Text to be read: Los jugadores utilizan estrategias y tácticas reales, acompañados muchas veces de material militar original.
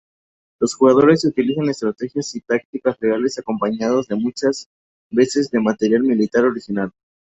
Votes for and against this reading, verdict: 0, 2, rejected